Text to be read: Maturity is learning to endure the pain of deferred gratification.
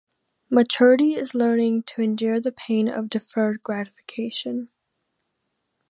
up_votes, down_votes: 2, 0